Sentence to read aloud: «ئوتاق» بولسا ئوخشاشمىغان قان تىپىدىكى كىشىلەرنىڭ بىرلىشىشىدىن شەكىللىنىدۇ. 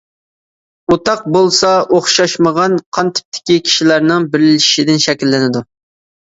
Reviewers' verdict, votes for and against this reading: rejected, 1, 2